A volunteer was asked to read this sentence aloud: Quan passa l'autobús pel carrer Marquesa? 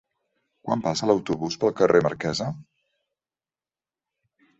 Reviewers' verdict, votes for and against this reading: accepted, 2, 0